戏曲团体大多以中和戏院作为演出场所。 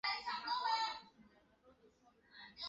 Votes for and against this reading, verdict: 2, 3, rejected